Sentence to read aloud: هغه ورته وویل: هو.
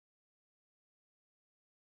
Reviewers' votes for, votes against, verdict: 0, 2, rejected